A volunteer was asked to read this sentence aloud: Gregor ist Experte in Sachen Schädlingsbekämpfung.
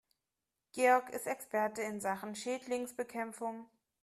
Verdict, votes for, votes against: rejected, 0, 2